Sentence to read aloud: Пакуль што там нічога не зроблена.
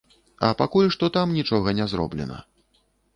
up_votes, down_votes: 1, 2